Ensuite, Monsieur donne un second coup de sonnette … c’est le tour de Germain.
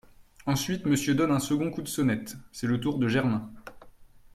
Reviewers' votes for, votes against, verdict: 2, 0, accepted